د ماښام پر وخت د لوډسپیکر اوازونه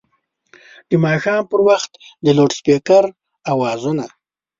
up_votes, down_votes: 2, 0